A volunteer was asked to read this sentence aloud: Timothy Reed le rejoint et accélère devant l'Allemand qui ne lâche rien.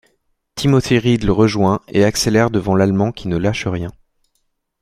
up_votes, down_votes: 2, 0